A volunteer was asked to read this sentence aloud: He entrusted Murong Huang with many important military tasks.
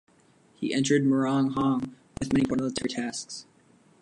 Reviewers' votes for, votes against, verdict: 0, 3, rejected